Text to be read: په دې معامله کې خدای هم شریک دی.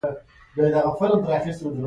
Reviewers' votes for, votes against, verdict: 0, 2, rejected